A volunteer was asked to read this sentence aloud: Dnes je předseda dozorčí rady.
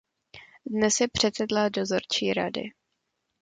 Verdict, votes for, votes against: rejected, 0, 2